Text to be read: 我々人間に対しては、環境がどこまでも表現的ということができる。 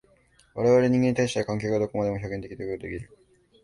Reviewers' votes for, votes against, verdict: 0, 2, rejected